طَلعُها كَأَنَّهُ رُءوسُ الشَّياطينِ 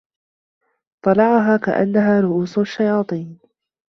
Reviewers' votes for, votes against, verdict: 0, 2, rejected